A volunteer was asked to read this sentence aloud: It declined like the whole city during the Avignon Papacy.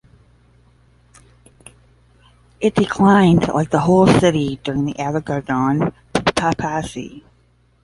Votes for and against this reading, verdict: 0, 10, rejected